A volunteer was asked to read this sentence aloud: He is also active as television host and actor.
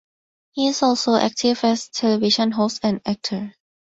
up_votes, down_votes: 2, 2